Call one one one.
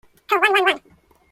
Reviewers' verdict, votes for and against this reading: rejected, 0, 2